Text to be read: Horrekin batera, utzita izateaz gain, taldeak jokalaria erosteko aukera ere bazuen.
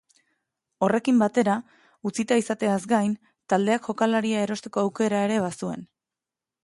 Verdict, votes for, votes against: accepted, 2, 0